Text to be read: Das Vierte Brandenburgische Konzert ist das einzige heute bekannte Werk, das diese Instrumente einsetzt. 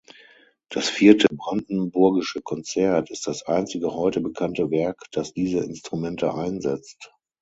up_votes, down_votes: 6, 0